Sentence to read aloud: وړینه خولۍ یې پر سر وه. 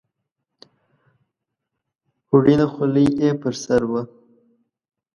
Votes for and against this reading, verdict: 2, 0, accepted